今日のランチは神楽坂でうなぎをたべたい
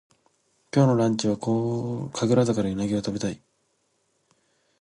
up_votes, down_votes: 1, 2